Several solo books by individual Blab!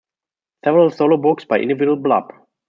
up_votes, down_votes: 0, 2